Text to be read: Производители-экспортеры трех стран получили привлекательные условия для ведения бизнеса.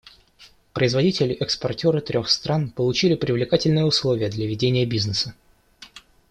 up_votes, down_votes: 2, 0